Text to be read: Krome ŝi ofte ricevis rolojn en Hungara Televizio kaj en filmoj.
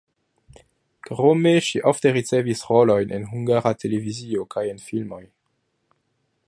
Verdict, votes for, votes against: rejected, 1, 2